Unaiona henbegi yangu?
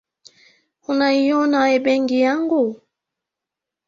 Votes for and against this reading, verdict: 1, 2, rejected